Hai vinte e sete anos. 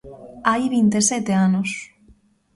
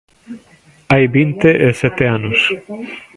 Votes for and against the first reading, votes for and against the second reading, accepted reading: 2, 0, 0, 2, first